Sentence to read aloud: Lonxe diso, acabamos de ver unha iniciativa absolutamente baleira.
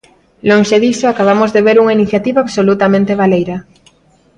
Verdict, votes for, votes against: accepted, 2, 0